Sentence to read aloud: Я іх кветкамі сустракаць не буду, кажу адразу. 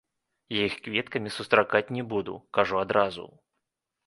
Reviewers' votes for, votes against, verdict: 3, 0, accepted